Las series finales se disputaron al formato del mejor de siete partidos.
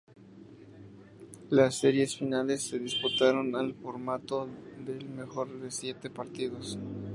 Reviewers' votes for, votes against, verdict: 2, 0, accepted